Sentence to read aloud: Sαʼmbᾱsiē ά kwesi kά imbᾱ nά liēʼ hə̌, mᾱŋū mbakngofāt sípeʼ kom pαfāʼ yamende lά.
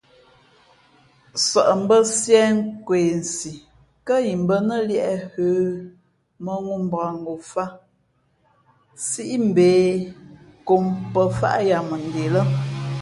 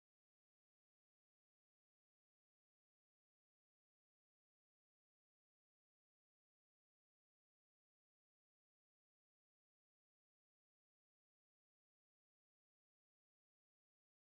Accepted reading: first